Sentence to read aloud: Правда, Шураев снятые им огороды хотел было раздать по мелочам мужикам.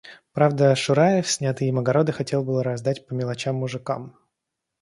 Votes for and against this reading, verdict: 2, 0, accepted